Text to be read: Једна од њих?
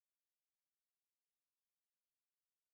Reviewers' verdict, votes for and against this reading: rejected, 0, 2